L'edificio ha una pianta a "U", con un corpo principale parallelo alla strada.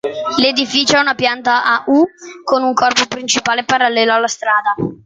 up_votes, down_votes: 2, 1